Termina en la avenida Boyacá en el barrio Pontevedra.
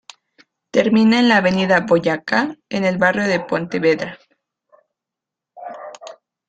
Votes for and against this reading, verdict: 1, 2, rejected